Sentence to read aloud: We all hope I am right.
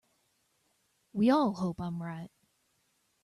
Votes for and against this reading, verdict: 2, 1, accepted